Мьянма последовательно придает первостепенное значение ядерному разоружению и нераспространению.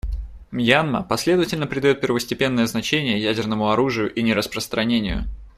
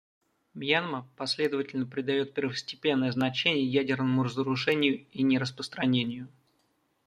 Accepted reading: second